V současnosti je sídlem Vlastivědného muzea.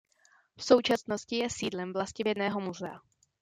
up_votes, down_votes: 2, 0